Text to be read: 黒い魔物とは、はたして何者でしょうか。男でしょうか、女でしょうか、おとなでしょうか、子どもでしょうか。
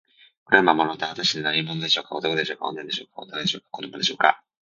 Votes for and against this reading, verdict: 2, 3, rejected